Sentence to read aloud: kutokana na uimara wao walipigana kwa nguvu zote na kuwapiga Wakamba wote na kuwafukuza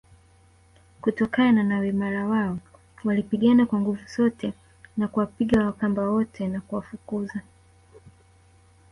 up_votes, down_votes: 1, 2